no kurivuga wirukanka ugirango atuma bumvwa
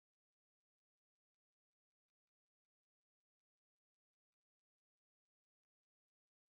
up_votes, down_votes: 1, 2